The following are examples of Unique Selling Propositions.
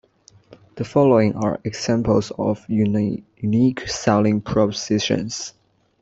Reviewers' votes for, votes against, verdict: 1, 2, rejected